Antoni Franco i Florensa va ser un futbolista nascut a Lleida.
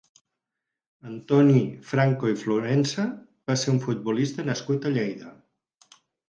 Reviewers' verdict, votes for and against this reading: accepted, 8, 0